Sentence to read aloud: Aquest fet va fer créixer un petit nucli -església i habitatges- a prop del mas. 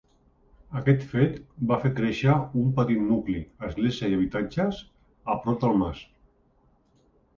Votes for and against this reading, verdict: 2, 0, accepted